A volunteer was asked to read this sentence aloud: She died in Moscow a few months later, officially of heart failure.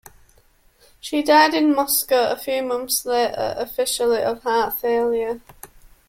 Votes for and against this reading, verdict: 2, 1, accepted